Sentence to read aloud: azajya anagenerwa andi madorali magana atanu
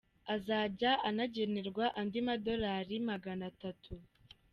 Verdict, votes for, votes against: rejected, 1, 2